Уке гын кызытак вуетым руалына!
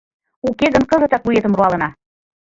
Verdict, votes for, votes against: accepted, 2, 0